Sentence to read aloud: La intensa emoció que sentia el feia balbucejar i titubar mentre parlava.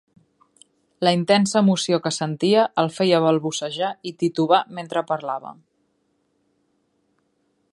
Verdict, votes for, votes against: accepted, 2, 0